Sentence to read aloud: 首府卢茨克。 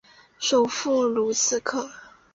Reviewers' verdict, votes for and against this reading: rejected, 0, 2